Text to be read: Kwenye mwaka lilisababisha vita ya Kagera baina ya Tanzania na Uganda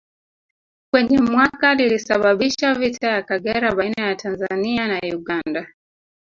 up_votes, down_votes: 1, 2